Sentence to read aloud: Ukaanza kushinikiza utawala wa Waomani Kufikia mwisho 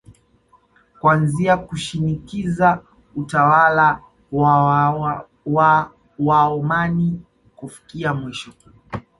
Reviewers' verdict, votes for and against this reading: rejected, 1, 2